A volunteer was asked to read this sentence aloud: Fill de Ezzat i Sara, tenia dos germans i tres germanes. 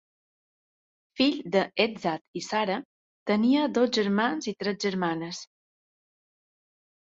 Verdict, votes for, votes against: accepted, 2, 0